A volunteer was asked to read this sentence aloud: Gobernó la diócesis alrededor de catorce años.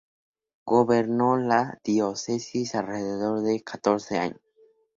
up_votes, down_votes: 0, 2